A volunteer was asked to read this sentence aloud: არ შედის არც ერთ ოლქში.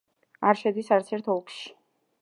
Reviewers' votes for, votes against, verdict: 2, 0, accepted